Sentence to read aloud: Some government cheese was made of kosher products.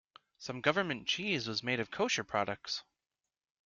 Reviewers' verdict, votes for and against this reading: accepted, 2, 0